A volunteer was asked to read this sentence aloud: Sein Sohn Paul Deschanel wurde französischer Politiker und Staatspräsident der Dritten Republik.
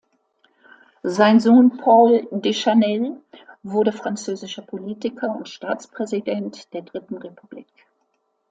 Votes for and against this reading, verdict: 2, 0, accepted